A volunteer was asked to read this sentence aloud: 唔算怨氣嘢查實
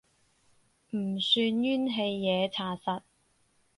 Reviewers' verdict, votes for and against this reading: rejected, 2, 2